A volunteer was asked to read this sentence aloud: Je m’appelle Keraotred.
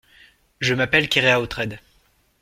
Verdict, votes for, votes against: rejected, 1, 2